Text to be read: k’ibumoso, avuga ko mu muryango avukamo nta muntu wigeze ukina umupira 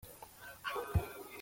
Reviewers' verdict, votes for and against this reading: rejected, 0, 2